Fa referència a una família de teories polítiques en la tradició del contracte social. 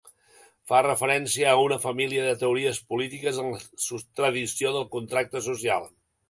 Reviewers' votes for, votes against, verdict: 0, 2, rejected